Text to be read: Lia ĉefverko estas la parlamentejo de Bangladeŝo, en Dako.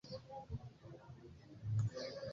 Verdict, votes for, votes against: rejected, 1, 2